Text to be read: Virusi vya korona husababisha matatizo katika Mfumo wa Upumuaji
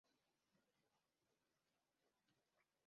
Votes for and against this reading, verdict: 1, 4, rejected